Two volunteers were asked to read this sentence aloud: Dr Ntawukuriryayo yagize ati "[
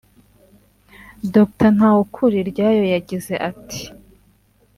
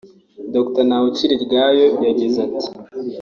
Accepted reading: first